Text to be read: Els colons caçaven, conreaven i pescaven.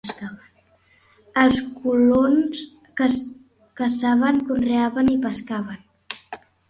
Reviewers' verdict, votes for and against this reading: rejected, 0, 2